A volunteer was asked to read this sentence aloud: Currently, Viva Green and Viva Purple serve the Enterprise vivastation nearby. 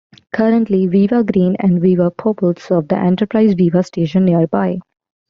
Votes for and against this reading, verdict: 2, 0, accepted